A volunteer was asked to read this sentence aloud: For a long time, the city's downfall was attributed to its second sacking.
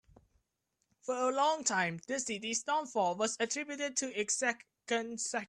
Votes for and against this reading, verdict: 0, 2, rejected